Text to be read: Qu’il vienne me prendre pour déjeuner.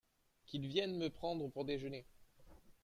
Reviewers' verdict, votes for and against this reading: rejected, 1, 2